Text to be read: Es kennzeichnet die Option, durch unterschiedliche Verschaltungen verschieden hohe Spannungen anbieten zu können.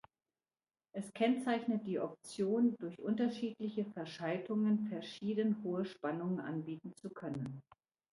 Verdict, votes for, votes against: accepted, 2, 1